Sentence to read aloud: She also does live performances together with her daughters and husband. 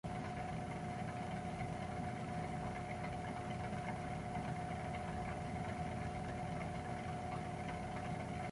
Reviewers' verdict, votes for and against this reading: rejected, 0, 2